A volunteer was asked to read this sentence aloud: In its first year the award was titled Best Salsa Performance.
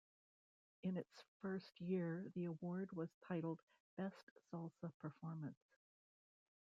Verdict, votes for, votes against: rejected, 1, 2